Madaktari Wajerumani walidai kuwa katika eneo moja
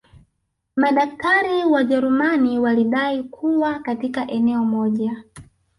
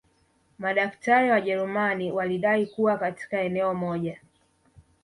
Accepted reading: second